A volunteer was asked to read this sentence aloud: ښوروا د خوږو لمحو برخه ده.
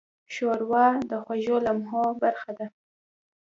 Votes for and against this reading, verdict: 2, 0, accepted